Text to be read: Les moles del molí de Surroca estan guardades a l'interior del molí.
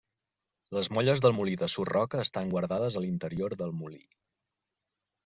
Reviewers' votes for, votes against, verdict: 0, 2, rejected